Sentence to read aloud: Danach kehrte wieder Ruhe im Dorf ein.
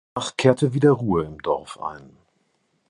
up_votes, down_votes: 0, 2